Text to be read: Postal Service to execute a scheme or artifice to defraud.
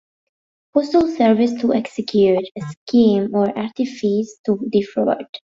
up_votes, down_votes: 1, 2